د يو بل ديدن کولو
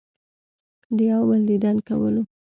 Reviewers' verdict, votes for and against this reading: accepted, 2, 0